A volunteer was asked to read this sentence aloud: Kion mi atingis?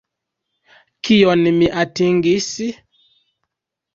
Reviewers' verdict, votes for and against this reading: rejected, 1, 2